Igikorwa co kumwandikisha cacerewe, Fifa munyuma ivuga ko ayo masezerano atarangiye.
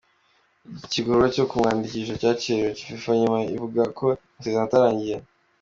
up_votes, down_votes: 1, 2